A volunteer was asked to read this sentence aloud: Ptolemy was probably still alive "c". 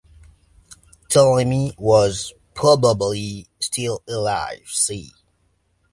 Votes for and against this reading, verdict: 3, 0, accepted